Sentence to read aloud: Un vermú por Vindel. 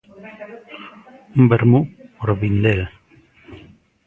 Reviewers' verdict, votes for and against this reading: accepted, 2, 0